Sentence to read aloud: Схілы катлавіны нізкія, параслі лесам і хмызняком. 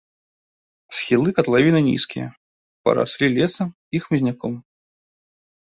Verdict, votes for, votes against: rejected, 1, 2